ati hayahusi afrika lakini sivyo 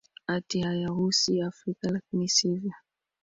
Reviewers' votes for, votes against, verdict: 2, 1, accepted